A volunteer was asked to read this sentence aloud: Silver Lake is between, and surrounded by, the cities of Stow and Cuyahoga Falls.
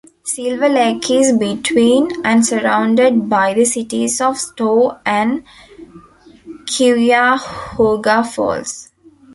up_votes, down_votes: 1, 2